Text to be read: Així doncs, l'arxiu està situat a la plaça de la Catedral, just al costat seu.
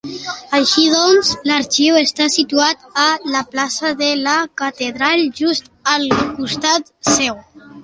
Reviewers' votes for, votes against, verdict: 2, 1, accepted